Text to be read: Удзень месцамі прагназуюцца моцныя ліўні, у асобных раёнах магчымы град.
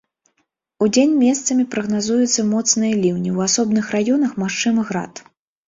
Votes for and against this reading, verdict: 2, 0, accepted